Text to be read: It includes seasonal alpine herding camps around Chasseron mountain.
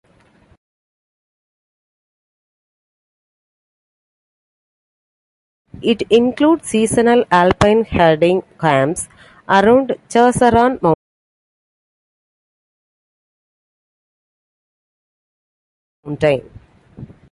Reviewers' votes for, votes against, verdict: 2, 0, accepted